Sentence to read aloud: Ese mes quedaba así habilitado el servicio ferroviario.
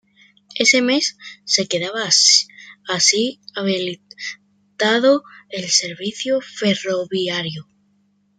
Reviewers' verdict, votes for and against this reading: rejected, 0, 2